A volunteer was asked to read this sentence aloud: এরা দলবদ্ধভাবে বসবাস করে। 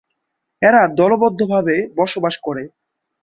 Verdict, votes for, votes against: accepted, 2, 0